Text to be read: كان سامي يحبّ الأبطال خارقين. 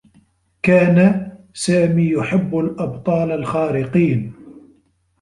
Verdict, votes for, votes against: rejected, 1, 2